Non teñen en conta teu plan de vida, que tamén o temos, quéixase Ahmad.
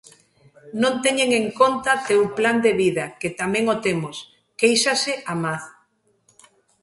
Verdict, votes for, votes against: accepted, 2, 0